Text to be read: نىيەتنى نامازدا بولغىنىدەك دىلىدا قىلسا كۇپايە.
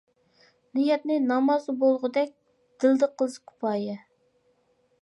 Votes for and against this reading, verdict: 0, 2, rejected